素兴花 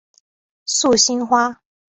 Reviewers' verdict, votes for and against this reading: accepted, 4, 0